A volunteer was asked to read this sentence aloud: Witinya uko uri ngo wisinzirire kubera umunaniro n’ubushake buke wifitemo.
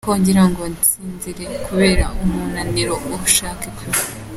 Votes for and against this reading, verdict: 0, 2, rejected